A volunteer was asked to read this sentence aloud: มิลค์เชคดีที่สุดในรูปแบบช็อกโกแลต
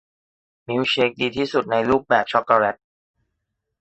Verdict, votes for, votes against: accepted, 2, 1